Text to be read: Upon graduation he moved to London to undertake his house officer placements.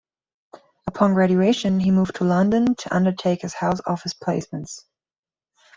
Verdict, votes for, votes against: rejected, 0, 2